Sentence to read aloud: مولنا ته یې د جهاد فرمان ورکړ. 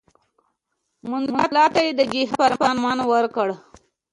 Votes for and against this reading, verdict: 2, 0, accepted